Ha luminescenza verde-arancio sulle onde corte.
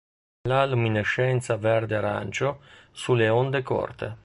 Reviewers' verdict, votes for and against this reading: rejected, 0, 2